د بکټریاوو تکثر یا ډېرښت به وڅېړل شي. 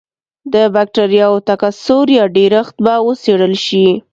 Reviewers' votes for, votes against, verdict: 2, 0, accepted